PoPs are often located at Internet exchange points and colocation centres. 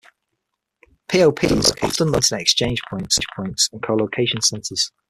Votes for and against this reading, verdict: 0, 6, rejected